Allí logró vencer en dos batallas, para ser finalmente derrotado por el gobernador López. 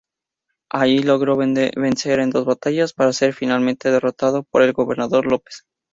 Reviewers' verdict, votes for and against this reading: rejected, 0, 2